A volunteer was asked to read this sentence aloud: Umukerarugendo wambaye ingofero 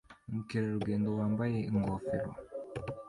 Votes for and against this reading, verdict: 2, 0, accepted